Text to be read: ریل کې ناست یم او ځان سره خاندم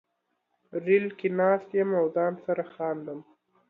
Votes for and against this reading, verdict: 3, 1, accepted